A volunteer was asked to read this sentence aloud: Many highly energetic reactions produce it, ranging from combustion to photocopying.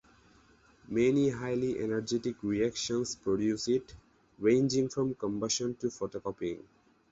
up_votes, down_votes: 2, 0